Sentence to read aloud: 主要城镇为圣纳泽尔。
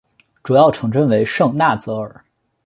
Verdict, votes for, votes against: accepted, 3, 0